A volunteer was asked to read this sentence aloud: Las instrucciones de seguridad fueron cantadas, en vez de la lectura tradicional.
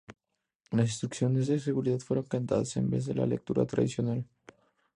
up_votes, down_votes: 2, 0